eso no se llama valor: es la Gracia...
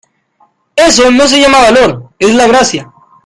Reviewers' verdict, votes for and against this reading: accepted, 2, 0